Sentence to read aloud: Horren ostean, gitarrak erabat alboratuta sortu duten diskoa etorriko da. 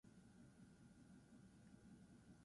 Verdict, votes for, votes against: rejected, 0, 4